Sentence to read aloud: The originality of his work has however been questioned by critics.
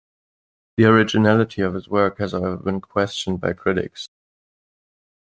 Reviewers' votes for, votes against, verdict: 1, 3, rejected